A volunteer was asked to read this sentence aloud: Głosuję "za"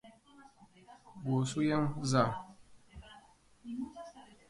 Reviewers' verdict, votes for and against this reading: rejected, 1, 2